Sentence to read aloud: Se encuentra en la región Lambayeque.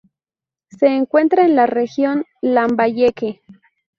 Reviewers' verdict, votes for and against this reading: accepted, 4, 2